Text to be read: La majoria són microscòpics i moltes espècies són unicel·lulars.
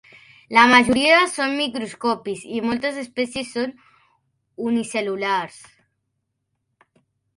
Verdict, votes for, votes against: rejected, 1, 2